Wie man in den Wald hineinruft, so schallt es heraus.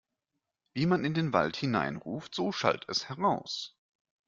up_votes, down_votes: 2, 0